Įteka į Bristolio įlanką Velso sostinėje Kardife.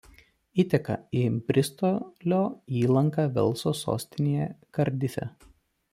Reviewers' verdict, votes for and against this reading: rejected, 0, 2